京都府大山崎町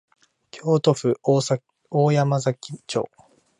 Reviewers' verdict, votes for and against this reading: rejected, 1, 2